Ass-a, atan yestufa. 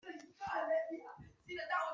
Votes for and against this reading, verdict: 0, 2, rejected